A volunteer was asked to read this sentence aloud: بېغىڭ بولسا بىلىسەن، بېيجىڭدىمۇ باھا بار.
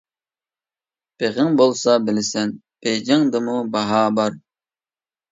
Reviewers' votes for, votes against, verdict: 2, 0, accepted